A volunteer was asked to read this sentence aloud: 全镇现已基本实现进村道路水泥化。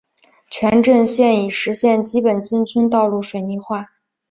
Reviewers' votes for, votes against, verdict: 2, 3, rejected